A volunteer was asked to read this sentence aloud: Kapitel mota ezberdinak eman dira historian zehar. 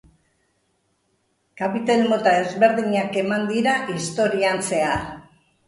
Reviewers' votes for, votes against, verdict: 2, 0, accepted